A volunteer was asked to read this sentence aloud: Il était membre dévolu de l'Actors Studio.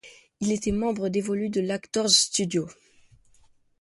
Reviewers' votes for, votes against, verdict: 2, 0, accepted